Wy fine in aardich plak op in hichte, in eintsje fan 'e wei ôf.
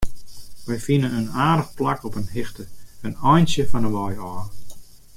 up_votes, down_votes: 2, 0